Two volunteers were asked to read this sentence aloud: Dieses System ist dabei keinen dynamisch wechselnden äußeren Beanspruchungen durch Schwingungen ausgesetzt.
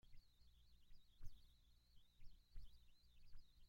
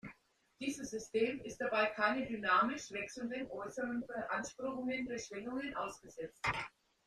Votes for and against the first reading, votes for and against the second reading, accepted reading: 0, 2, 2, 0, second